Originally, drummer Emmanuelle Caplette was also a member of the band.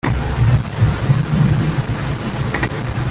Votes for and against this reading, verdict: 0, 2, rejected